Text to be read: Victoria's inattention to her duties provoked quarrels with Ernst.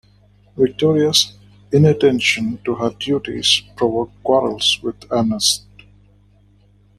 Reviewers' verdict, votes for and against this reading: rejected, 0, 2